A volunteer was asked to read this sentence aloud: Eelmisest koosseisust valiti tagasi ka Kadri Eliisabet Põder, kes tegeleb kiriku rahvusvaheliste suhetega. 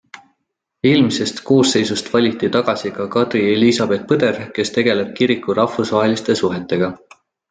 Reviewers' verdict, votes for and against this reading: accepted, 2, 0